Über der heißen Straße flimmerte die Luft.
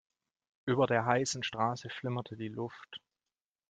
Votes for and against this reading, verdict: 2, 0, accepted